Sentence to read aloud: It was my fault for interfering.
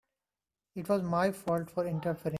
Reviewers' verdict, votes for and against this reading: rejected, 1, 2